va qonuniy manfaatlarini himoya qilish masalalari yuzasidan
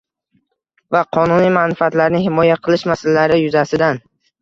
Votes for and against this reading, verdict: 2, 1, accepted